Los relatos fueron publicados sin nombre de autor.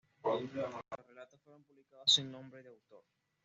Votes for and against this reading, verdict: 1, 2, rejected